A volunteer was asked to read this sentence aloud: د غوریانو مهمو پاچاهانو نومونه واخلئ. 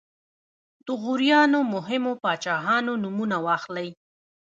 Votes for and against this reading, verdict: 2, 1, accepted